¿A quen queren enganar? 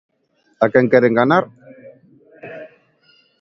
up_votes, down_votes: 2, 1